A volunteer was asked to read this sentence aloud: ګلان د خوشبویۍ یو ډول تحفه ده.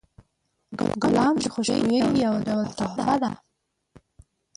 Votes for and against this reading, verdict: 2, 6, rejected